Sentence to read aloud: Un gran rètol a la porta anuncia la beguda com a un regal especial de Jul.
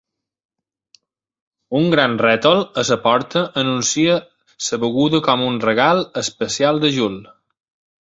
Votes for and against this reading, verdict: 0, 2, rejected